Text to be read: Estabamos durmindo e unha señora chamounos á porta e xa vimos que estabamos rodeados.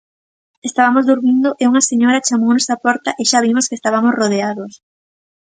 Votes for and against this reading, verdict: 0, 2, rejected